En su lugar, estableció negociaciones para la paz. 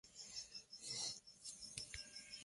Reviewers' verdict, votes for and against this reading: rejected, 0, 2